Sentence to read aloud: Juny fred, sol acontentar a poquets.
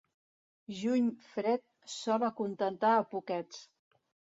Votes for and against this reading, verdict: 2, 0, accepted